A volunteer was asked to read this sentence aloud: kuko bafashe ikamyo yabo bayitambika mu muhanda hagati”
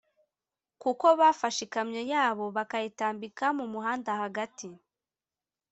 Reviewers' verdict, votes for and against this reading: accepted, 2, 0